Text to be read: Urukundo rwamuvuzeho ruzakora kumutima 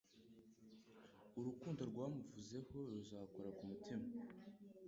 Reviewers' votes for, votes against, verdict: 1, 2, rejected